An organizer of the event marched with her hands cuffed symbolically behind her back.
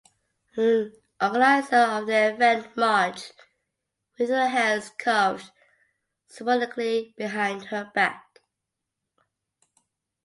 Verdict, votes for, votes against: rejected, 1, 2